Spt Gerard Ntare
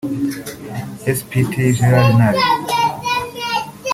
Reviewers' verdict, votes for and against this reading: rejected, 1, 2